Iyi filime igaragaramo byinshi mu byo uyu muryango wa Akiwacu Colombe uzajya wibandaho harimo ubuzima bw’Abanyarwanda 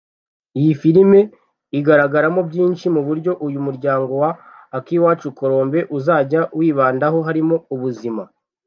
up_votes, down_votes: 1, 2